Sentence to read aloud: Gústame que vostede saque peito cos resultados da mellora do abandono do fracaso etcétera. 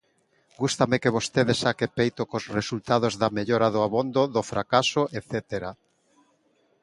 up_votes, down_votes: 0, 2